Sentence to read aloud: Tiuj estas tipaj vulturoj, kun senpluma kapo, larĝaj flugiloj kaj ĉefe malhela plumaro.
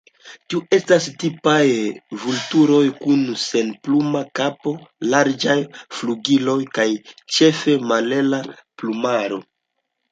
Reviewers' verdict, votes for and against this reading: accepted, 2, 1